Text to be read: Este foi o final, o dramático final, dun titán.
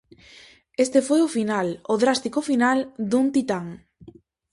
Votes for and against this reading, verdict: 0, 4, rejected